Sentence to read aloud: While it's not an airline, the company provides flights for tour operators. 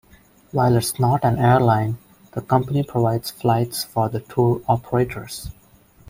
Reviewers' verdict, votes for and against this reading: rejected, 1, 2